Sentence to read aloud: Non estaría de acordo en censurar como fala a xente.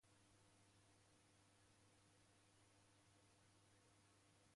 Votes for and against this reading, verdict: 0, 2, rejected